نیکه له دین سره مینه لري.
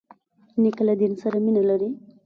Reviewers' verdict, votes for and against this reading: accepted, 2, 0